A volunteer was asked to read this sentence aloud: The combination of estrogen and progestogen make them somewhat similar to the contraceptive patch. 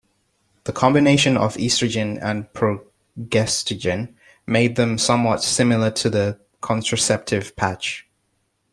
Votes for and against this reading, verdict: 2, 1, accepted